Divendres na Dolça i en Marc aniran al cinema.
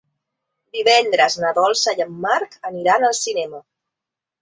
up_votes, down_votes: 3, 0